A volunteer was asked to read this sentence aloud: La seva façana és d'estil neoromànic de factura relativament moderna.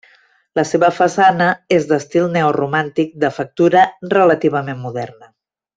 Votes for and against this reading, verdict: 1, 2, rejected